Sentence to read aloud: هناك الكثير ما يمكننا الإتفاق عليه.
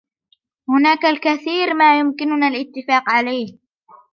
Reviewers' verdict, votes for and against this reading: accepted, 2, 0